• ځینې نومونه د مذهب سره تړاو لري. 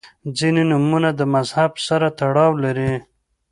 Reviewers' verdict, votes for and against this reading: accepted, 2, 0